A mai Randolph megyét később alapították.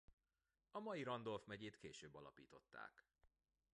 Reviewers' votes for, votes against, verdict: 1, 2, rejected